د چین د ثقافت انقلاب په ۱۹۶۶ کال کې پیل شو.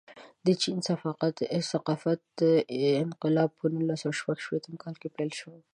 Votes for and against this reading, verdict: 0, 2, rejected